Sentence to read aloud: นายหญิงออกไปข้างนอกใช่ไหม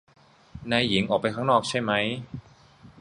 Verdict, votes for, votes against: rejected, 1, 2